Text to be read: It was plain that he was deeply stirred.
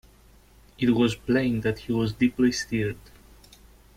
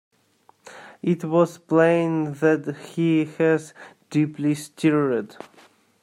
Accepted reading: first